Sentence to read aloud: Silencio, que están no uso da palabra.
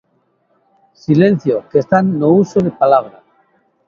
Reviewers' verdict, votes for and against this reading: rejected, 0, 2